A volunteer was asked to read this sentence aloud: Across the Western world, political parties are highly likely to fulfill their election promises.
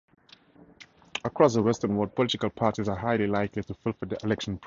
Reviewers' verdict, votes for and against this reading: rejected, 0, 2